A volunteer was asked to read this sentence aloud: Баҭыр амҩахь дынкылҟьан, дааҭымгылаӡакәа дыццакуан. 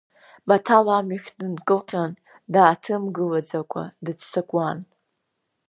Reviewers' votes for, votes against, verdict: 1, 2, rejected